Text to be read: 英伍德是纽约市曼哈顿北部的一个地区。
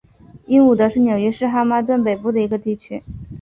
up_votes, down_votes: 5, 1